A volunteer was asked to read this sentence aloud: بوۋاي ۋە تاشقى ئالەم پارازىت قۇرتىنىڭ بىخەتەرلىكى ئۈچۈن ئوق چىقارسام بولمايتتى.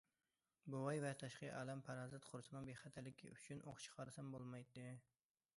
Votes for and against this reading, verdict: 1, 2, rejected